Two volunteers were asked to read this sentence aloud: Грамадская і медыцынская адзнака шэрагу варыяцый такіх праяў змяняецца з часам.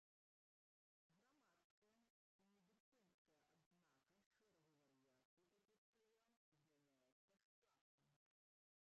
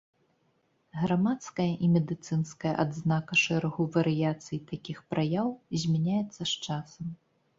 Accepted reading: second